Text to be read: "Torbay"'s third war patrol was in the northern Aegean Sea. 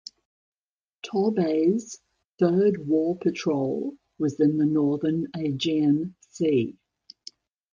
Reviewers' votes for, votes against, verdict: 1, 2, rejected